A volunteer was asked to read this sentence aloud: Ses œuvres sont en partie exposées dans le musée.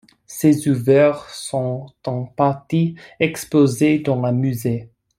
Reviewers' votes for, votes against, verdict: 0, 2, rejected